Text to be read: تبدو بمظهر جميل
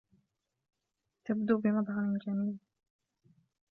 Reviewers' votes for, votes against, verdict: 1, 2, rejected